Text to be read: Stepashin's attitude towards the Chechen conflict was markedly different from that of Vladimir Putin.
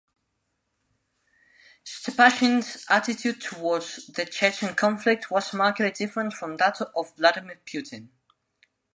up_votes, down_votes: 1, 2